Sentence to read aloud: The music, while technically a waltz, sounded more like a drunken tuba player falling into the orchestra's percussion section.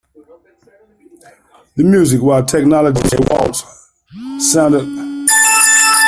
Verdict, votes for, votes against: rejected, 0, 2